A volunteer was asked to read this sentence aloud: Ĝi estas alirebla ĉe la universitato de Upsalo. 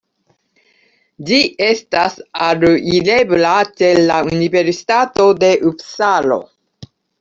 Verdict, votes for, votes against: rejected, 0, 2